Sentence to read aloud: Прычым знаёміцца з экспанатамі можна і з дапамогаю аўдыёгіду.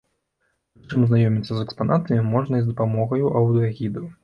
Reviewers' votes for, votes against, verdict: 1, 2, rejected